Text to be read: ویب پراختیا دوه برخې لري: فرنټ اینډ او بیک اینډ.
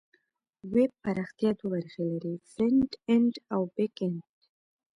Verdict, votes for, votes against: accepted, 2, 0